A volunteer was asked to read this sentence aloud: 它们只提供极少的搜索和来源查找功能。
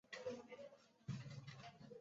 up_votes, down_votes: 0, 2